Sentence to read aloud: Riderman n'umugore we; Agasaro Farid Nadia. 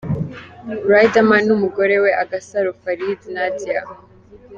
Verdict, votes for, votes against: accepted, 3, 0